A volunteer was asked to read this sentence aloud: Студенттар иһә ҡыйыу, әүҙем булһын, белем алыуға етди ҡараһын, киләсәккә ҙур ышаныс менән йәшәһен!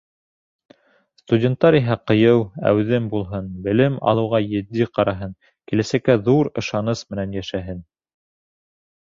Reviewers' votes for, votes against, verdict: 2, 0, accepted